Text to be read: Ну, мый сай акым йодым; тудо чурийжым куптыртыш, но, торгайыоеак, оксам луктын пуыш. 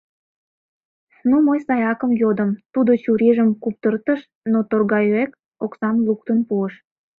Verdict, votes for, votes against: rejected, 0, 2